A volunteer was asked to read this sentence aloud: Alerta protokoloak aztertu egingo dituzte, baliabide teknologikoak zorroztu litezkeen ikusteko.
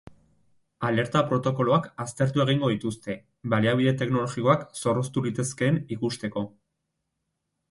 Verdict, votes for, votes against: rejected, 0, 2